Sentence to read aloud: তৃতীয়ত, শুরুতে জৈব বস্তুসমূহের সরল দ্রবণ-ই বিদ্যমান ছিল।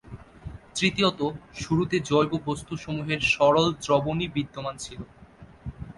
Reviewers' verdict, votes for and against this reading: accepted, 3, 0